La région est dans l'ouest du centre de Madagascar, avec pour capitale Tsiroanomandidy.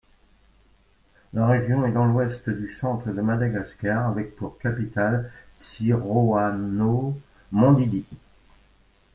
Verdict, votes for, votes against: rejected, 1, 2